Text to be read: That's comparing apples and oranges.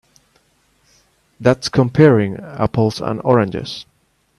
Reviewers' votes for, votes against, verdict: 2, 0, accepted